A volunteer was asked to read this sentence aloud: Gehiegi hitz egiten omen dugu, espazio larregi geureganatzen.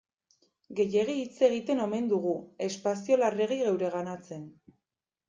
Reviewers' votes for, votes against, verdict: 2, 0, accepted